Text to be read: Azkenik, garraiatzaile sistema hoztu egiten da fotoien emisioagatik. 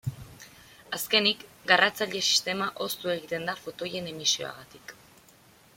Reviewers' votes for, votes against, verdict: 0, 2, rejected